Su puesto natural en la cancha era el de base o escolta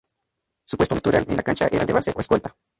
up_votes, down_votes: 0, 2